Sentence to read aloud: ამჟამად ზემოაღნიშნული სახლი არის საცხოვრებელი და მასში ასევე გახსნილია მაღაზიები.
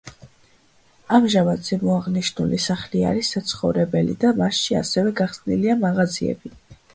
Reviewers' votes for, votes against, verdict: 2, 0, accepted